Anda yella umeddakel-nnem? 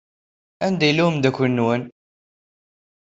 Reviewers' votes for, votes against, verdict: 1, 2, rejected